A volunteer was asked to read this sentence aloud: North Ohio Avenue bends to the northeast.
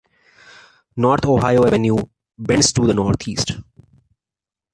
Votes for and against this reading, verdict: 2, 1, accepted